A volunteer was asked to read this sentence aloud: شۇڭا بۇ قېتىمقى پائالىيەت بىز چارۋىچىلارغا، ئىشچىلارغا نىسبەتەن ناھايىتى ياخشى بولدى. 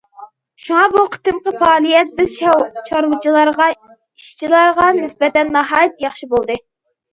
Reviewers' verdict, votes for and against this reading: rejected, 0, 2